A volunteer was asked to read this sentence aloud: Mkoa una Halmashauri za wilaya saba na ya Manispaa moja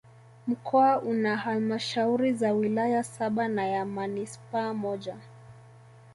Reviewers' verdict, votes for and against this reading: rejected, 0, 2